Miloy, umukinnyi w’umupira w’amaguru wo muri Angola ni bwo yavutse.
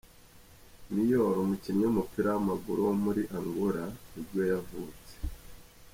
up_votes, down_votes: 2, 0